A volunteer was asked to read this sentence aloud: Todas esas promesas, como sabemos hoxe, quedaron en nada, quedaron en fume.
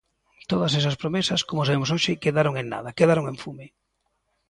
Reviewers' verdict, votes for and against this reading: accepted, 2, 0